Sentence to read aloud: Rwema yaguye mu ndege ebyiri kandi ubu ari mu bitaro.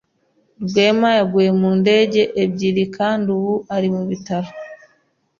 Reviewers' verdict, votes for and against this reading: accepted, 2, 0